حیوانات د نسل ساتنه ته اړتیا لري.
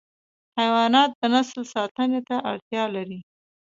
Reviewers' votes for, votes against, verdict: 2, 0, accepted